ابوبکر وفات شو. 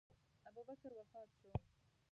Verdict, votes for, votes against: rejected, 2, 4